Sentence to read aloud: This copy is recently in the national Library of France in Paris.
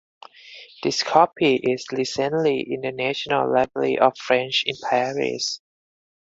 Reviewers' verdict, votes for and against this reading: rejected, 2, 4